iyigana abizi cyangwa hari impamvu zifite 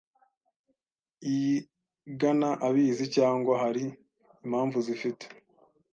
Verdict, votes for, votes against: accepted, 2, 0